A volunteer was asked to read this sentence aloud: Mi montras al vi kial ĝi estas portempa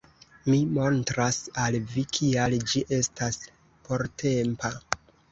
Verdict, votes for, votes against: rejected, 0, 2